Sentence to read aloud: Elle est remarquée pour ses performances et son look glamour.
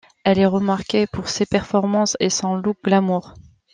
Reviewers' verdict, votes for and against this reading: accepted, 2, 0